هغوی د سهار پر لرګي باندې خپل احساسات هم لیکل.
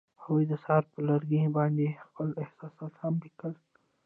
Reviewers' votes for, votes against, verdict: 1, 2, rejected